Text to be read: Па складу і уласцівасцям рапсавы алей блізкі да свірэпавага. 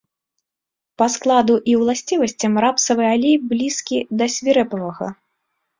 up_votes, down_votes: 2, 0